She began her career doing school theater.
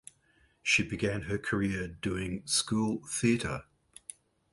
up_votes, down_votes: 2, 0